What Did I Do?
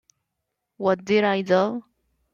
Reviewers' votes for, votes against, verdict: 1, 2, rejected